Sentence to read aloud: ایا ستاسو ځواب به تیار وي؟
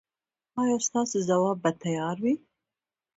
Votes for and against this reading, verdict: 0, 2, rejected